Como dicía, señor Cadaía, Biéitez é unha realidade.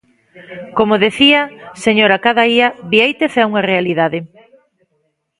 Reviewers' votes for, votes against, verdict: 0, 2, rejected